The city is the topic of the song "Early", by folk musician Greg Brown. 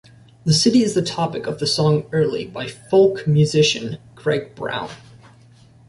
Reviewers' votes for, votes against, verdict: 2, 0, accepted